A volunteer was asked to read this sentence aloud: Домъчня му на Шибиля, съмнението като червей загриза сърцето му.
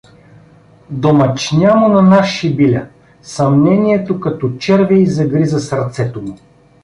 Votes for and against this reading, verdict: 1, 2, rejected